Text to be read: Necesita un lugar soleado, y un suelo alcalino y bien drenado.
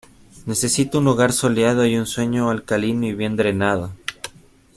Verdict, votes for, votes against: accepted, 2, 1